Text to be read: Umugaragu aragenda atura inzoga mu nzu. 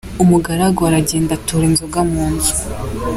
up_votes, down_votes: 2, 0